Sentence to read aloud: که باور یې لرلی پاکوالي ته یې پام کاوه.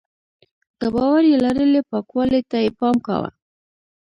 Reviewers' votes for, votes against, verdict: 1, 2, rejected